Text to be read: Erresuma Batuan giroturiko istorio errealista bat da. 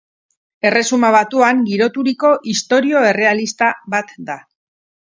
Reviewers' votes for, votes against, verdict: 8, 0, accepted